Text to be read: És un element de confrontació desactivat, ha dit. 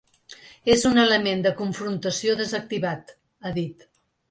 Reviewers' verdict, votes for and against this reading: accepted, 3, 0